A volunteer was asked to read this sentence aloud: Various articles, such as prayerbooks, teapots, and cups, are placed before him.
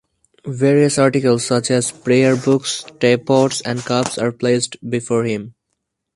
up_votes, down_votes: 4, 0